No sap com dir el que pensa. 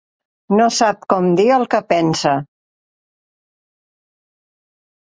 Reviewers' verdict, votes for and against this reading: accepted, 3, 0